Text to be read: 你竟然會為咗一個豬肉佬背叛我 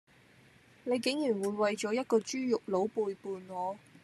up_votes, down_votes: 2, 0